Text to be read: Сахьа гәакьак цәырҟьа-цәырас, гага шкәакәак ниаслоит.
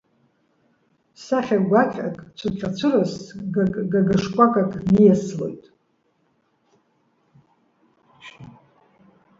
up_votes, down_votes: 0, 2